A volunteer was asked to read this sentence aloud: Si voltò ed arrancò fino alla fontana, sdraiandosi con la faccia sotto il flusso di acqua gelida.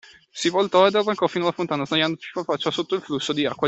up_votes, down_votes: 0, 2